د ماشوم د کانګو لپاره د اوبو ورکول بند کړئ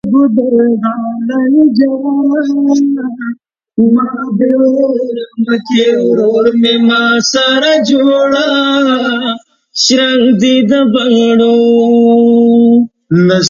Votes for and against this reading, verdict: 1, 3, rejected